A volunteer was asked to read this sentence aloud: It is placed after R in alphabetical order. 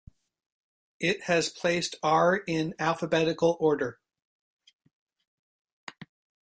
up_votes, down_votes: 0, 2